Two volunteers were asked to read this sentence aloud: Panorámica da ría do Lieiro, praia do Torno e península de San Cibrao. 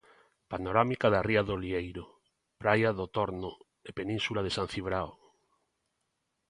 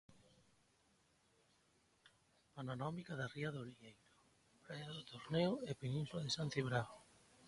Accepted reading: first